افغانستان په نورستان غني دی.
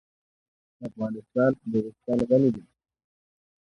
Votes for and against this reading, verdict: 1, 2, rejected